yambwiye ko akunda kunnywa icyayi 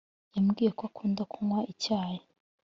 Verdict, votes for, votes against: accepted, 2, 0